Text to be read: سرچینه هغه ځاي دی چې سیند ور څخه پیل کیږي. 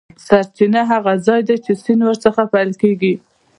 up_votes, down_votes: 2, 0